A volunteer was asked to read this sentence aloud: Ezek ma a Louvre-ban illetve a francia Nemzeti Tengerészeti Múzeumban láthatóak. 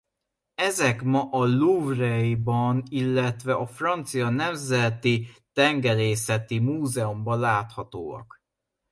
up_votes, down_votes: 0, 2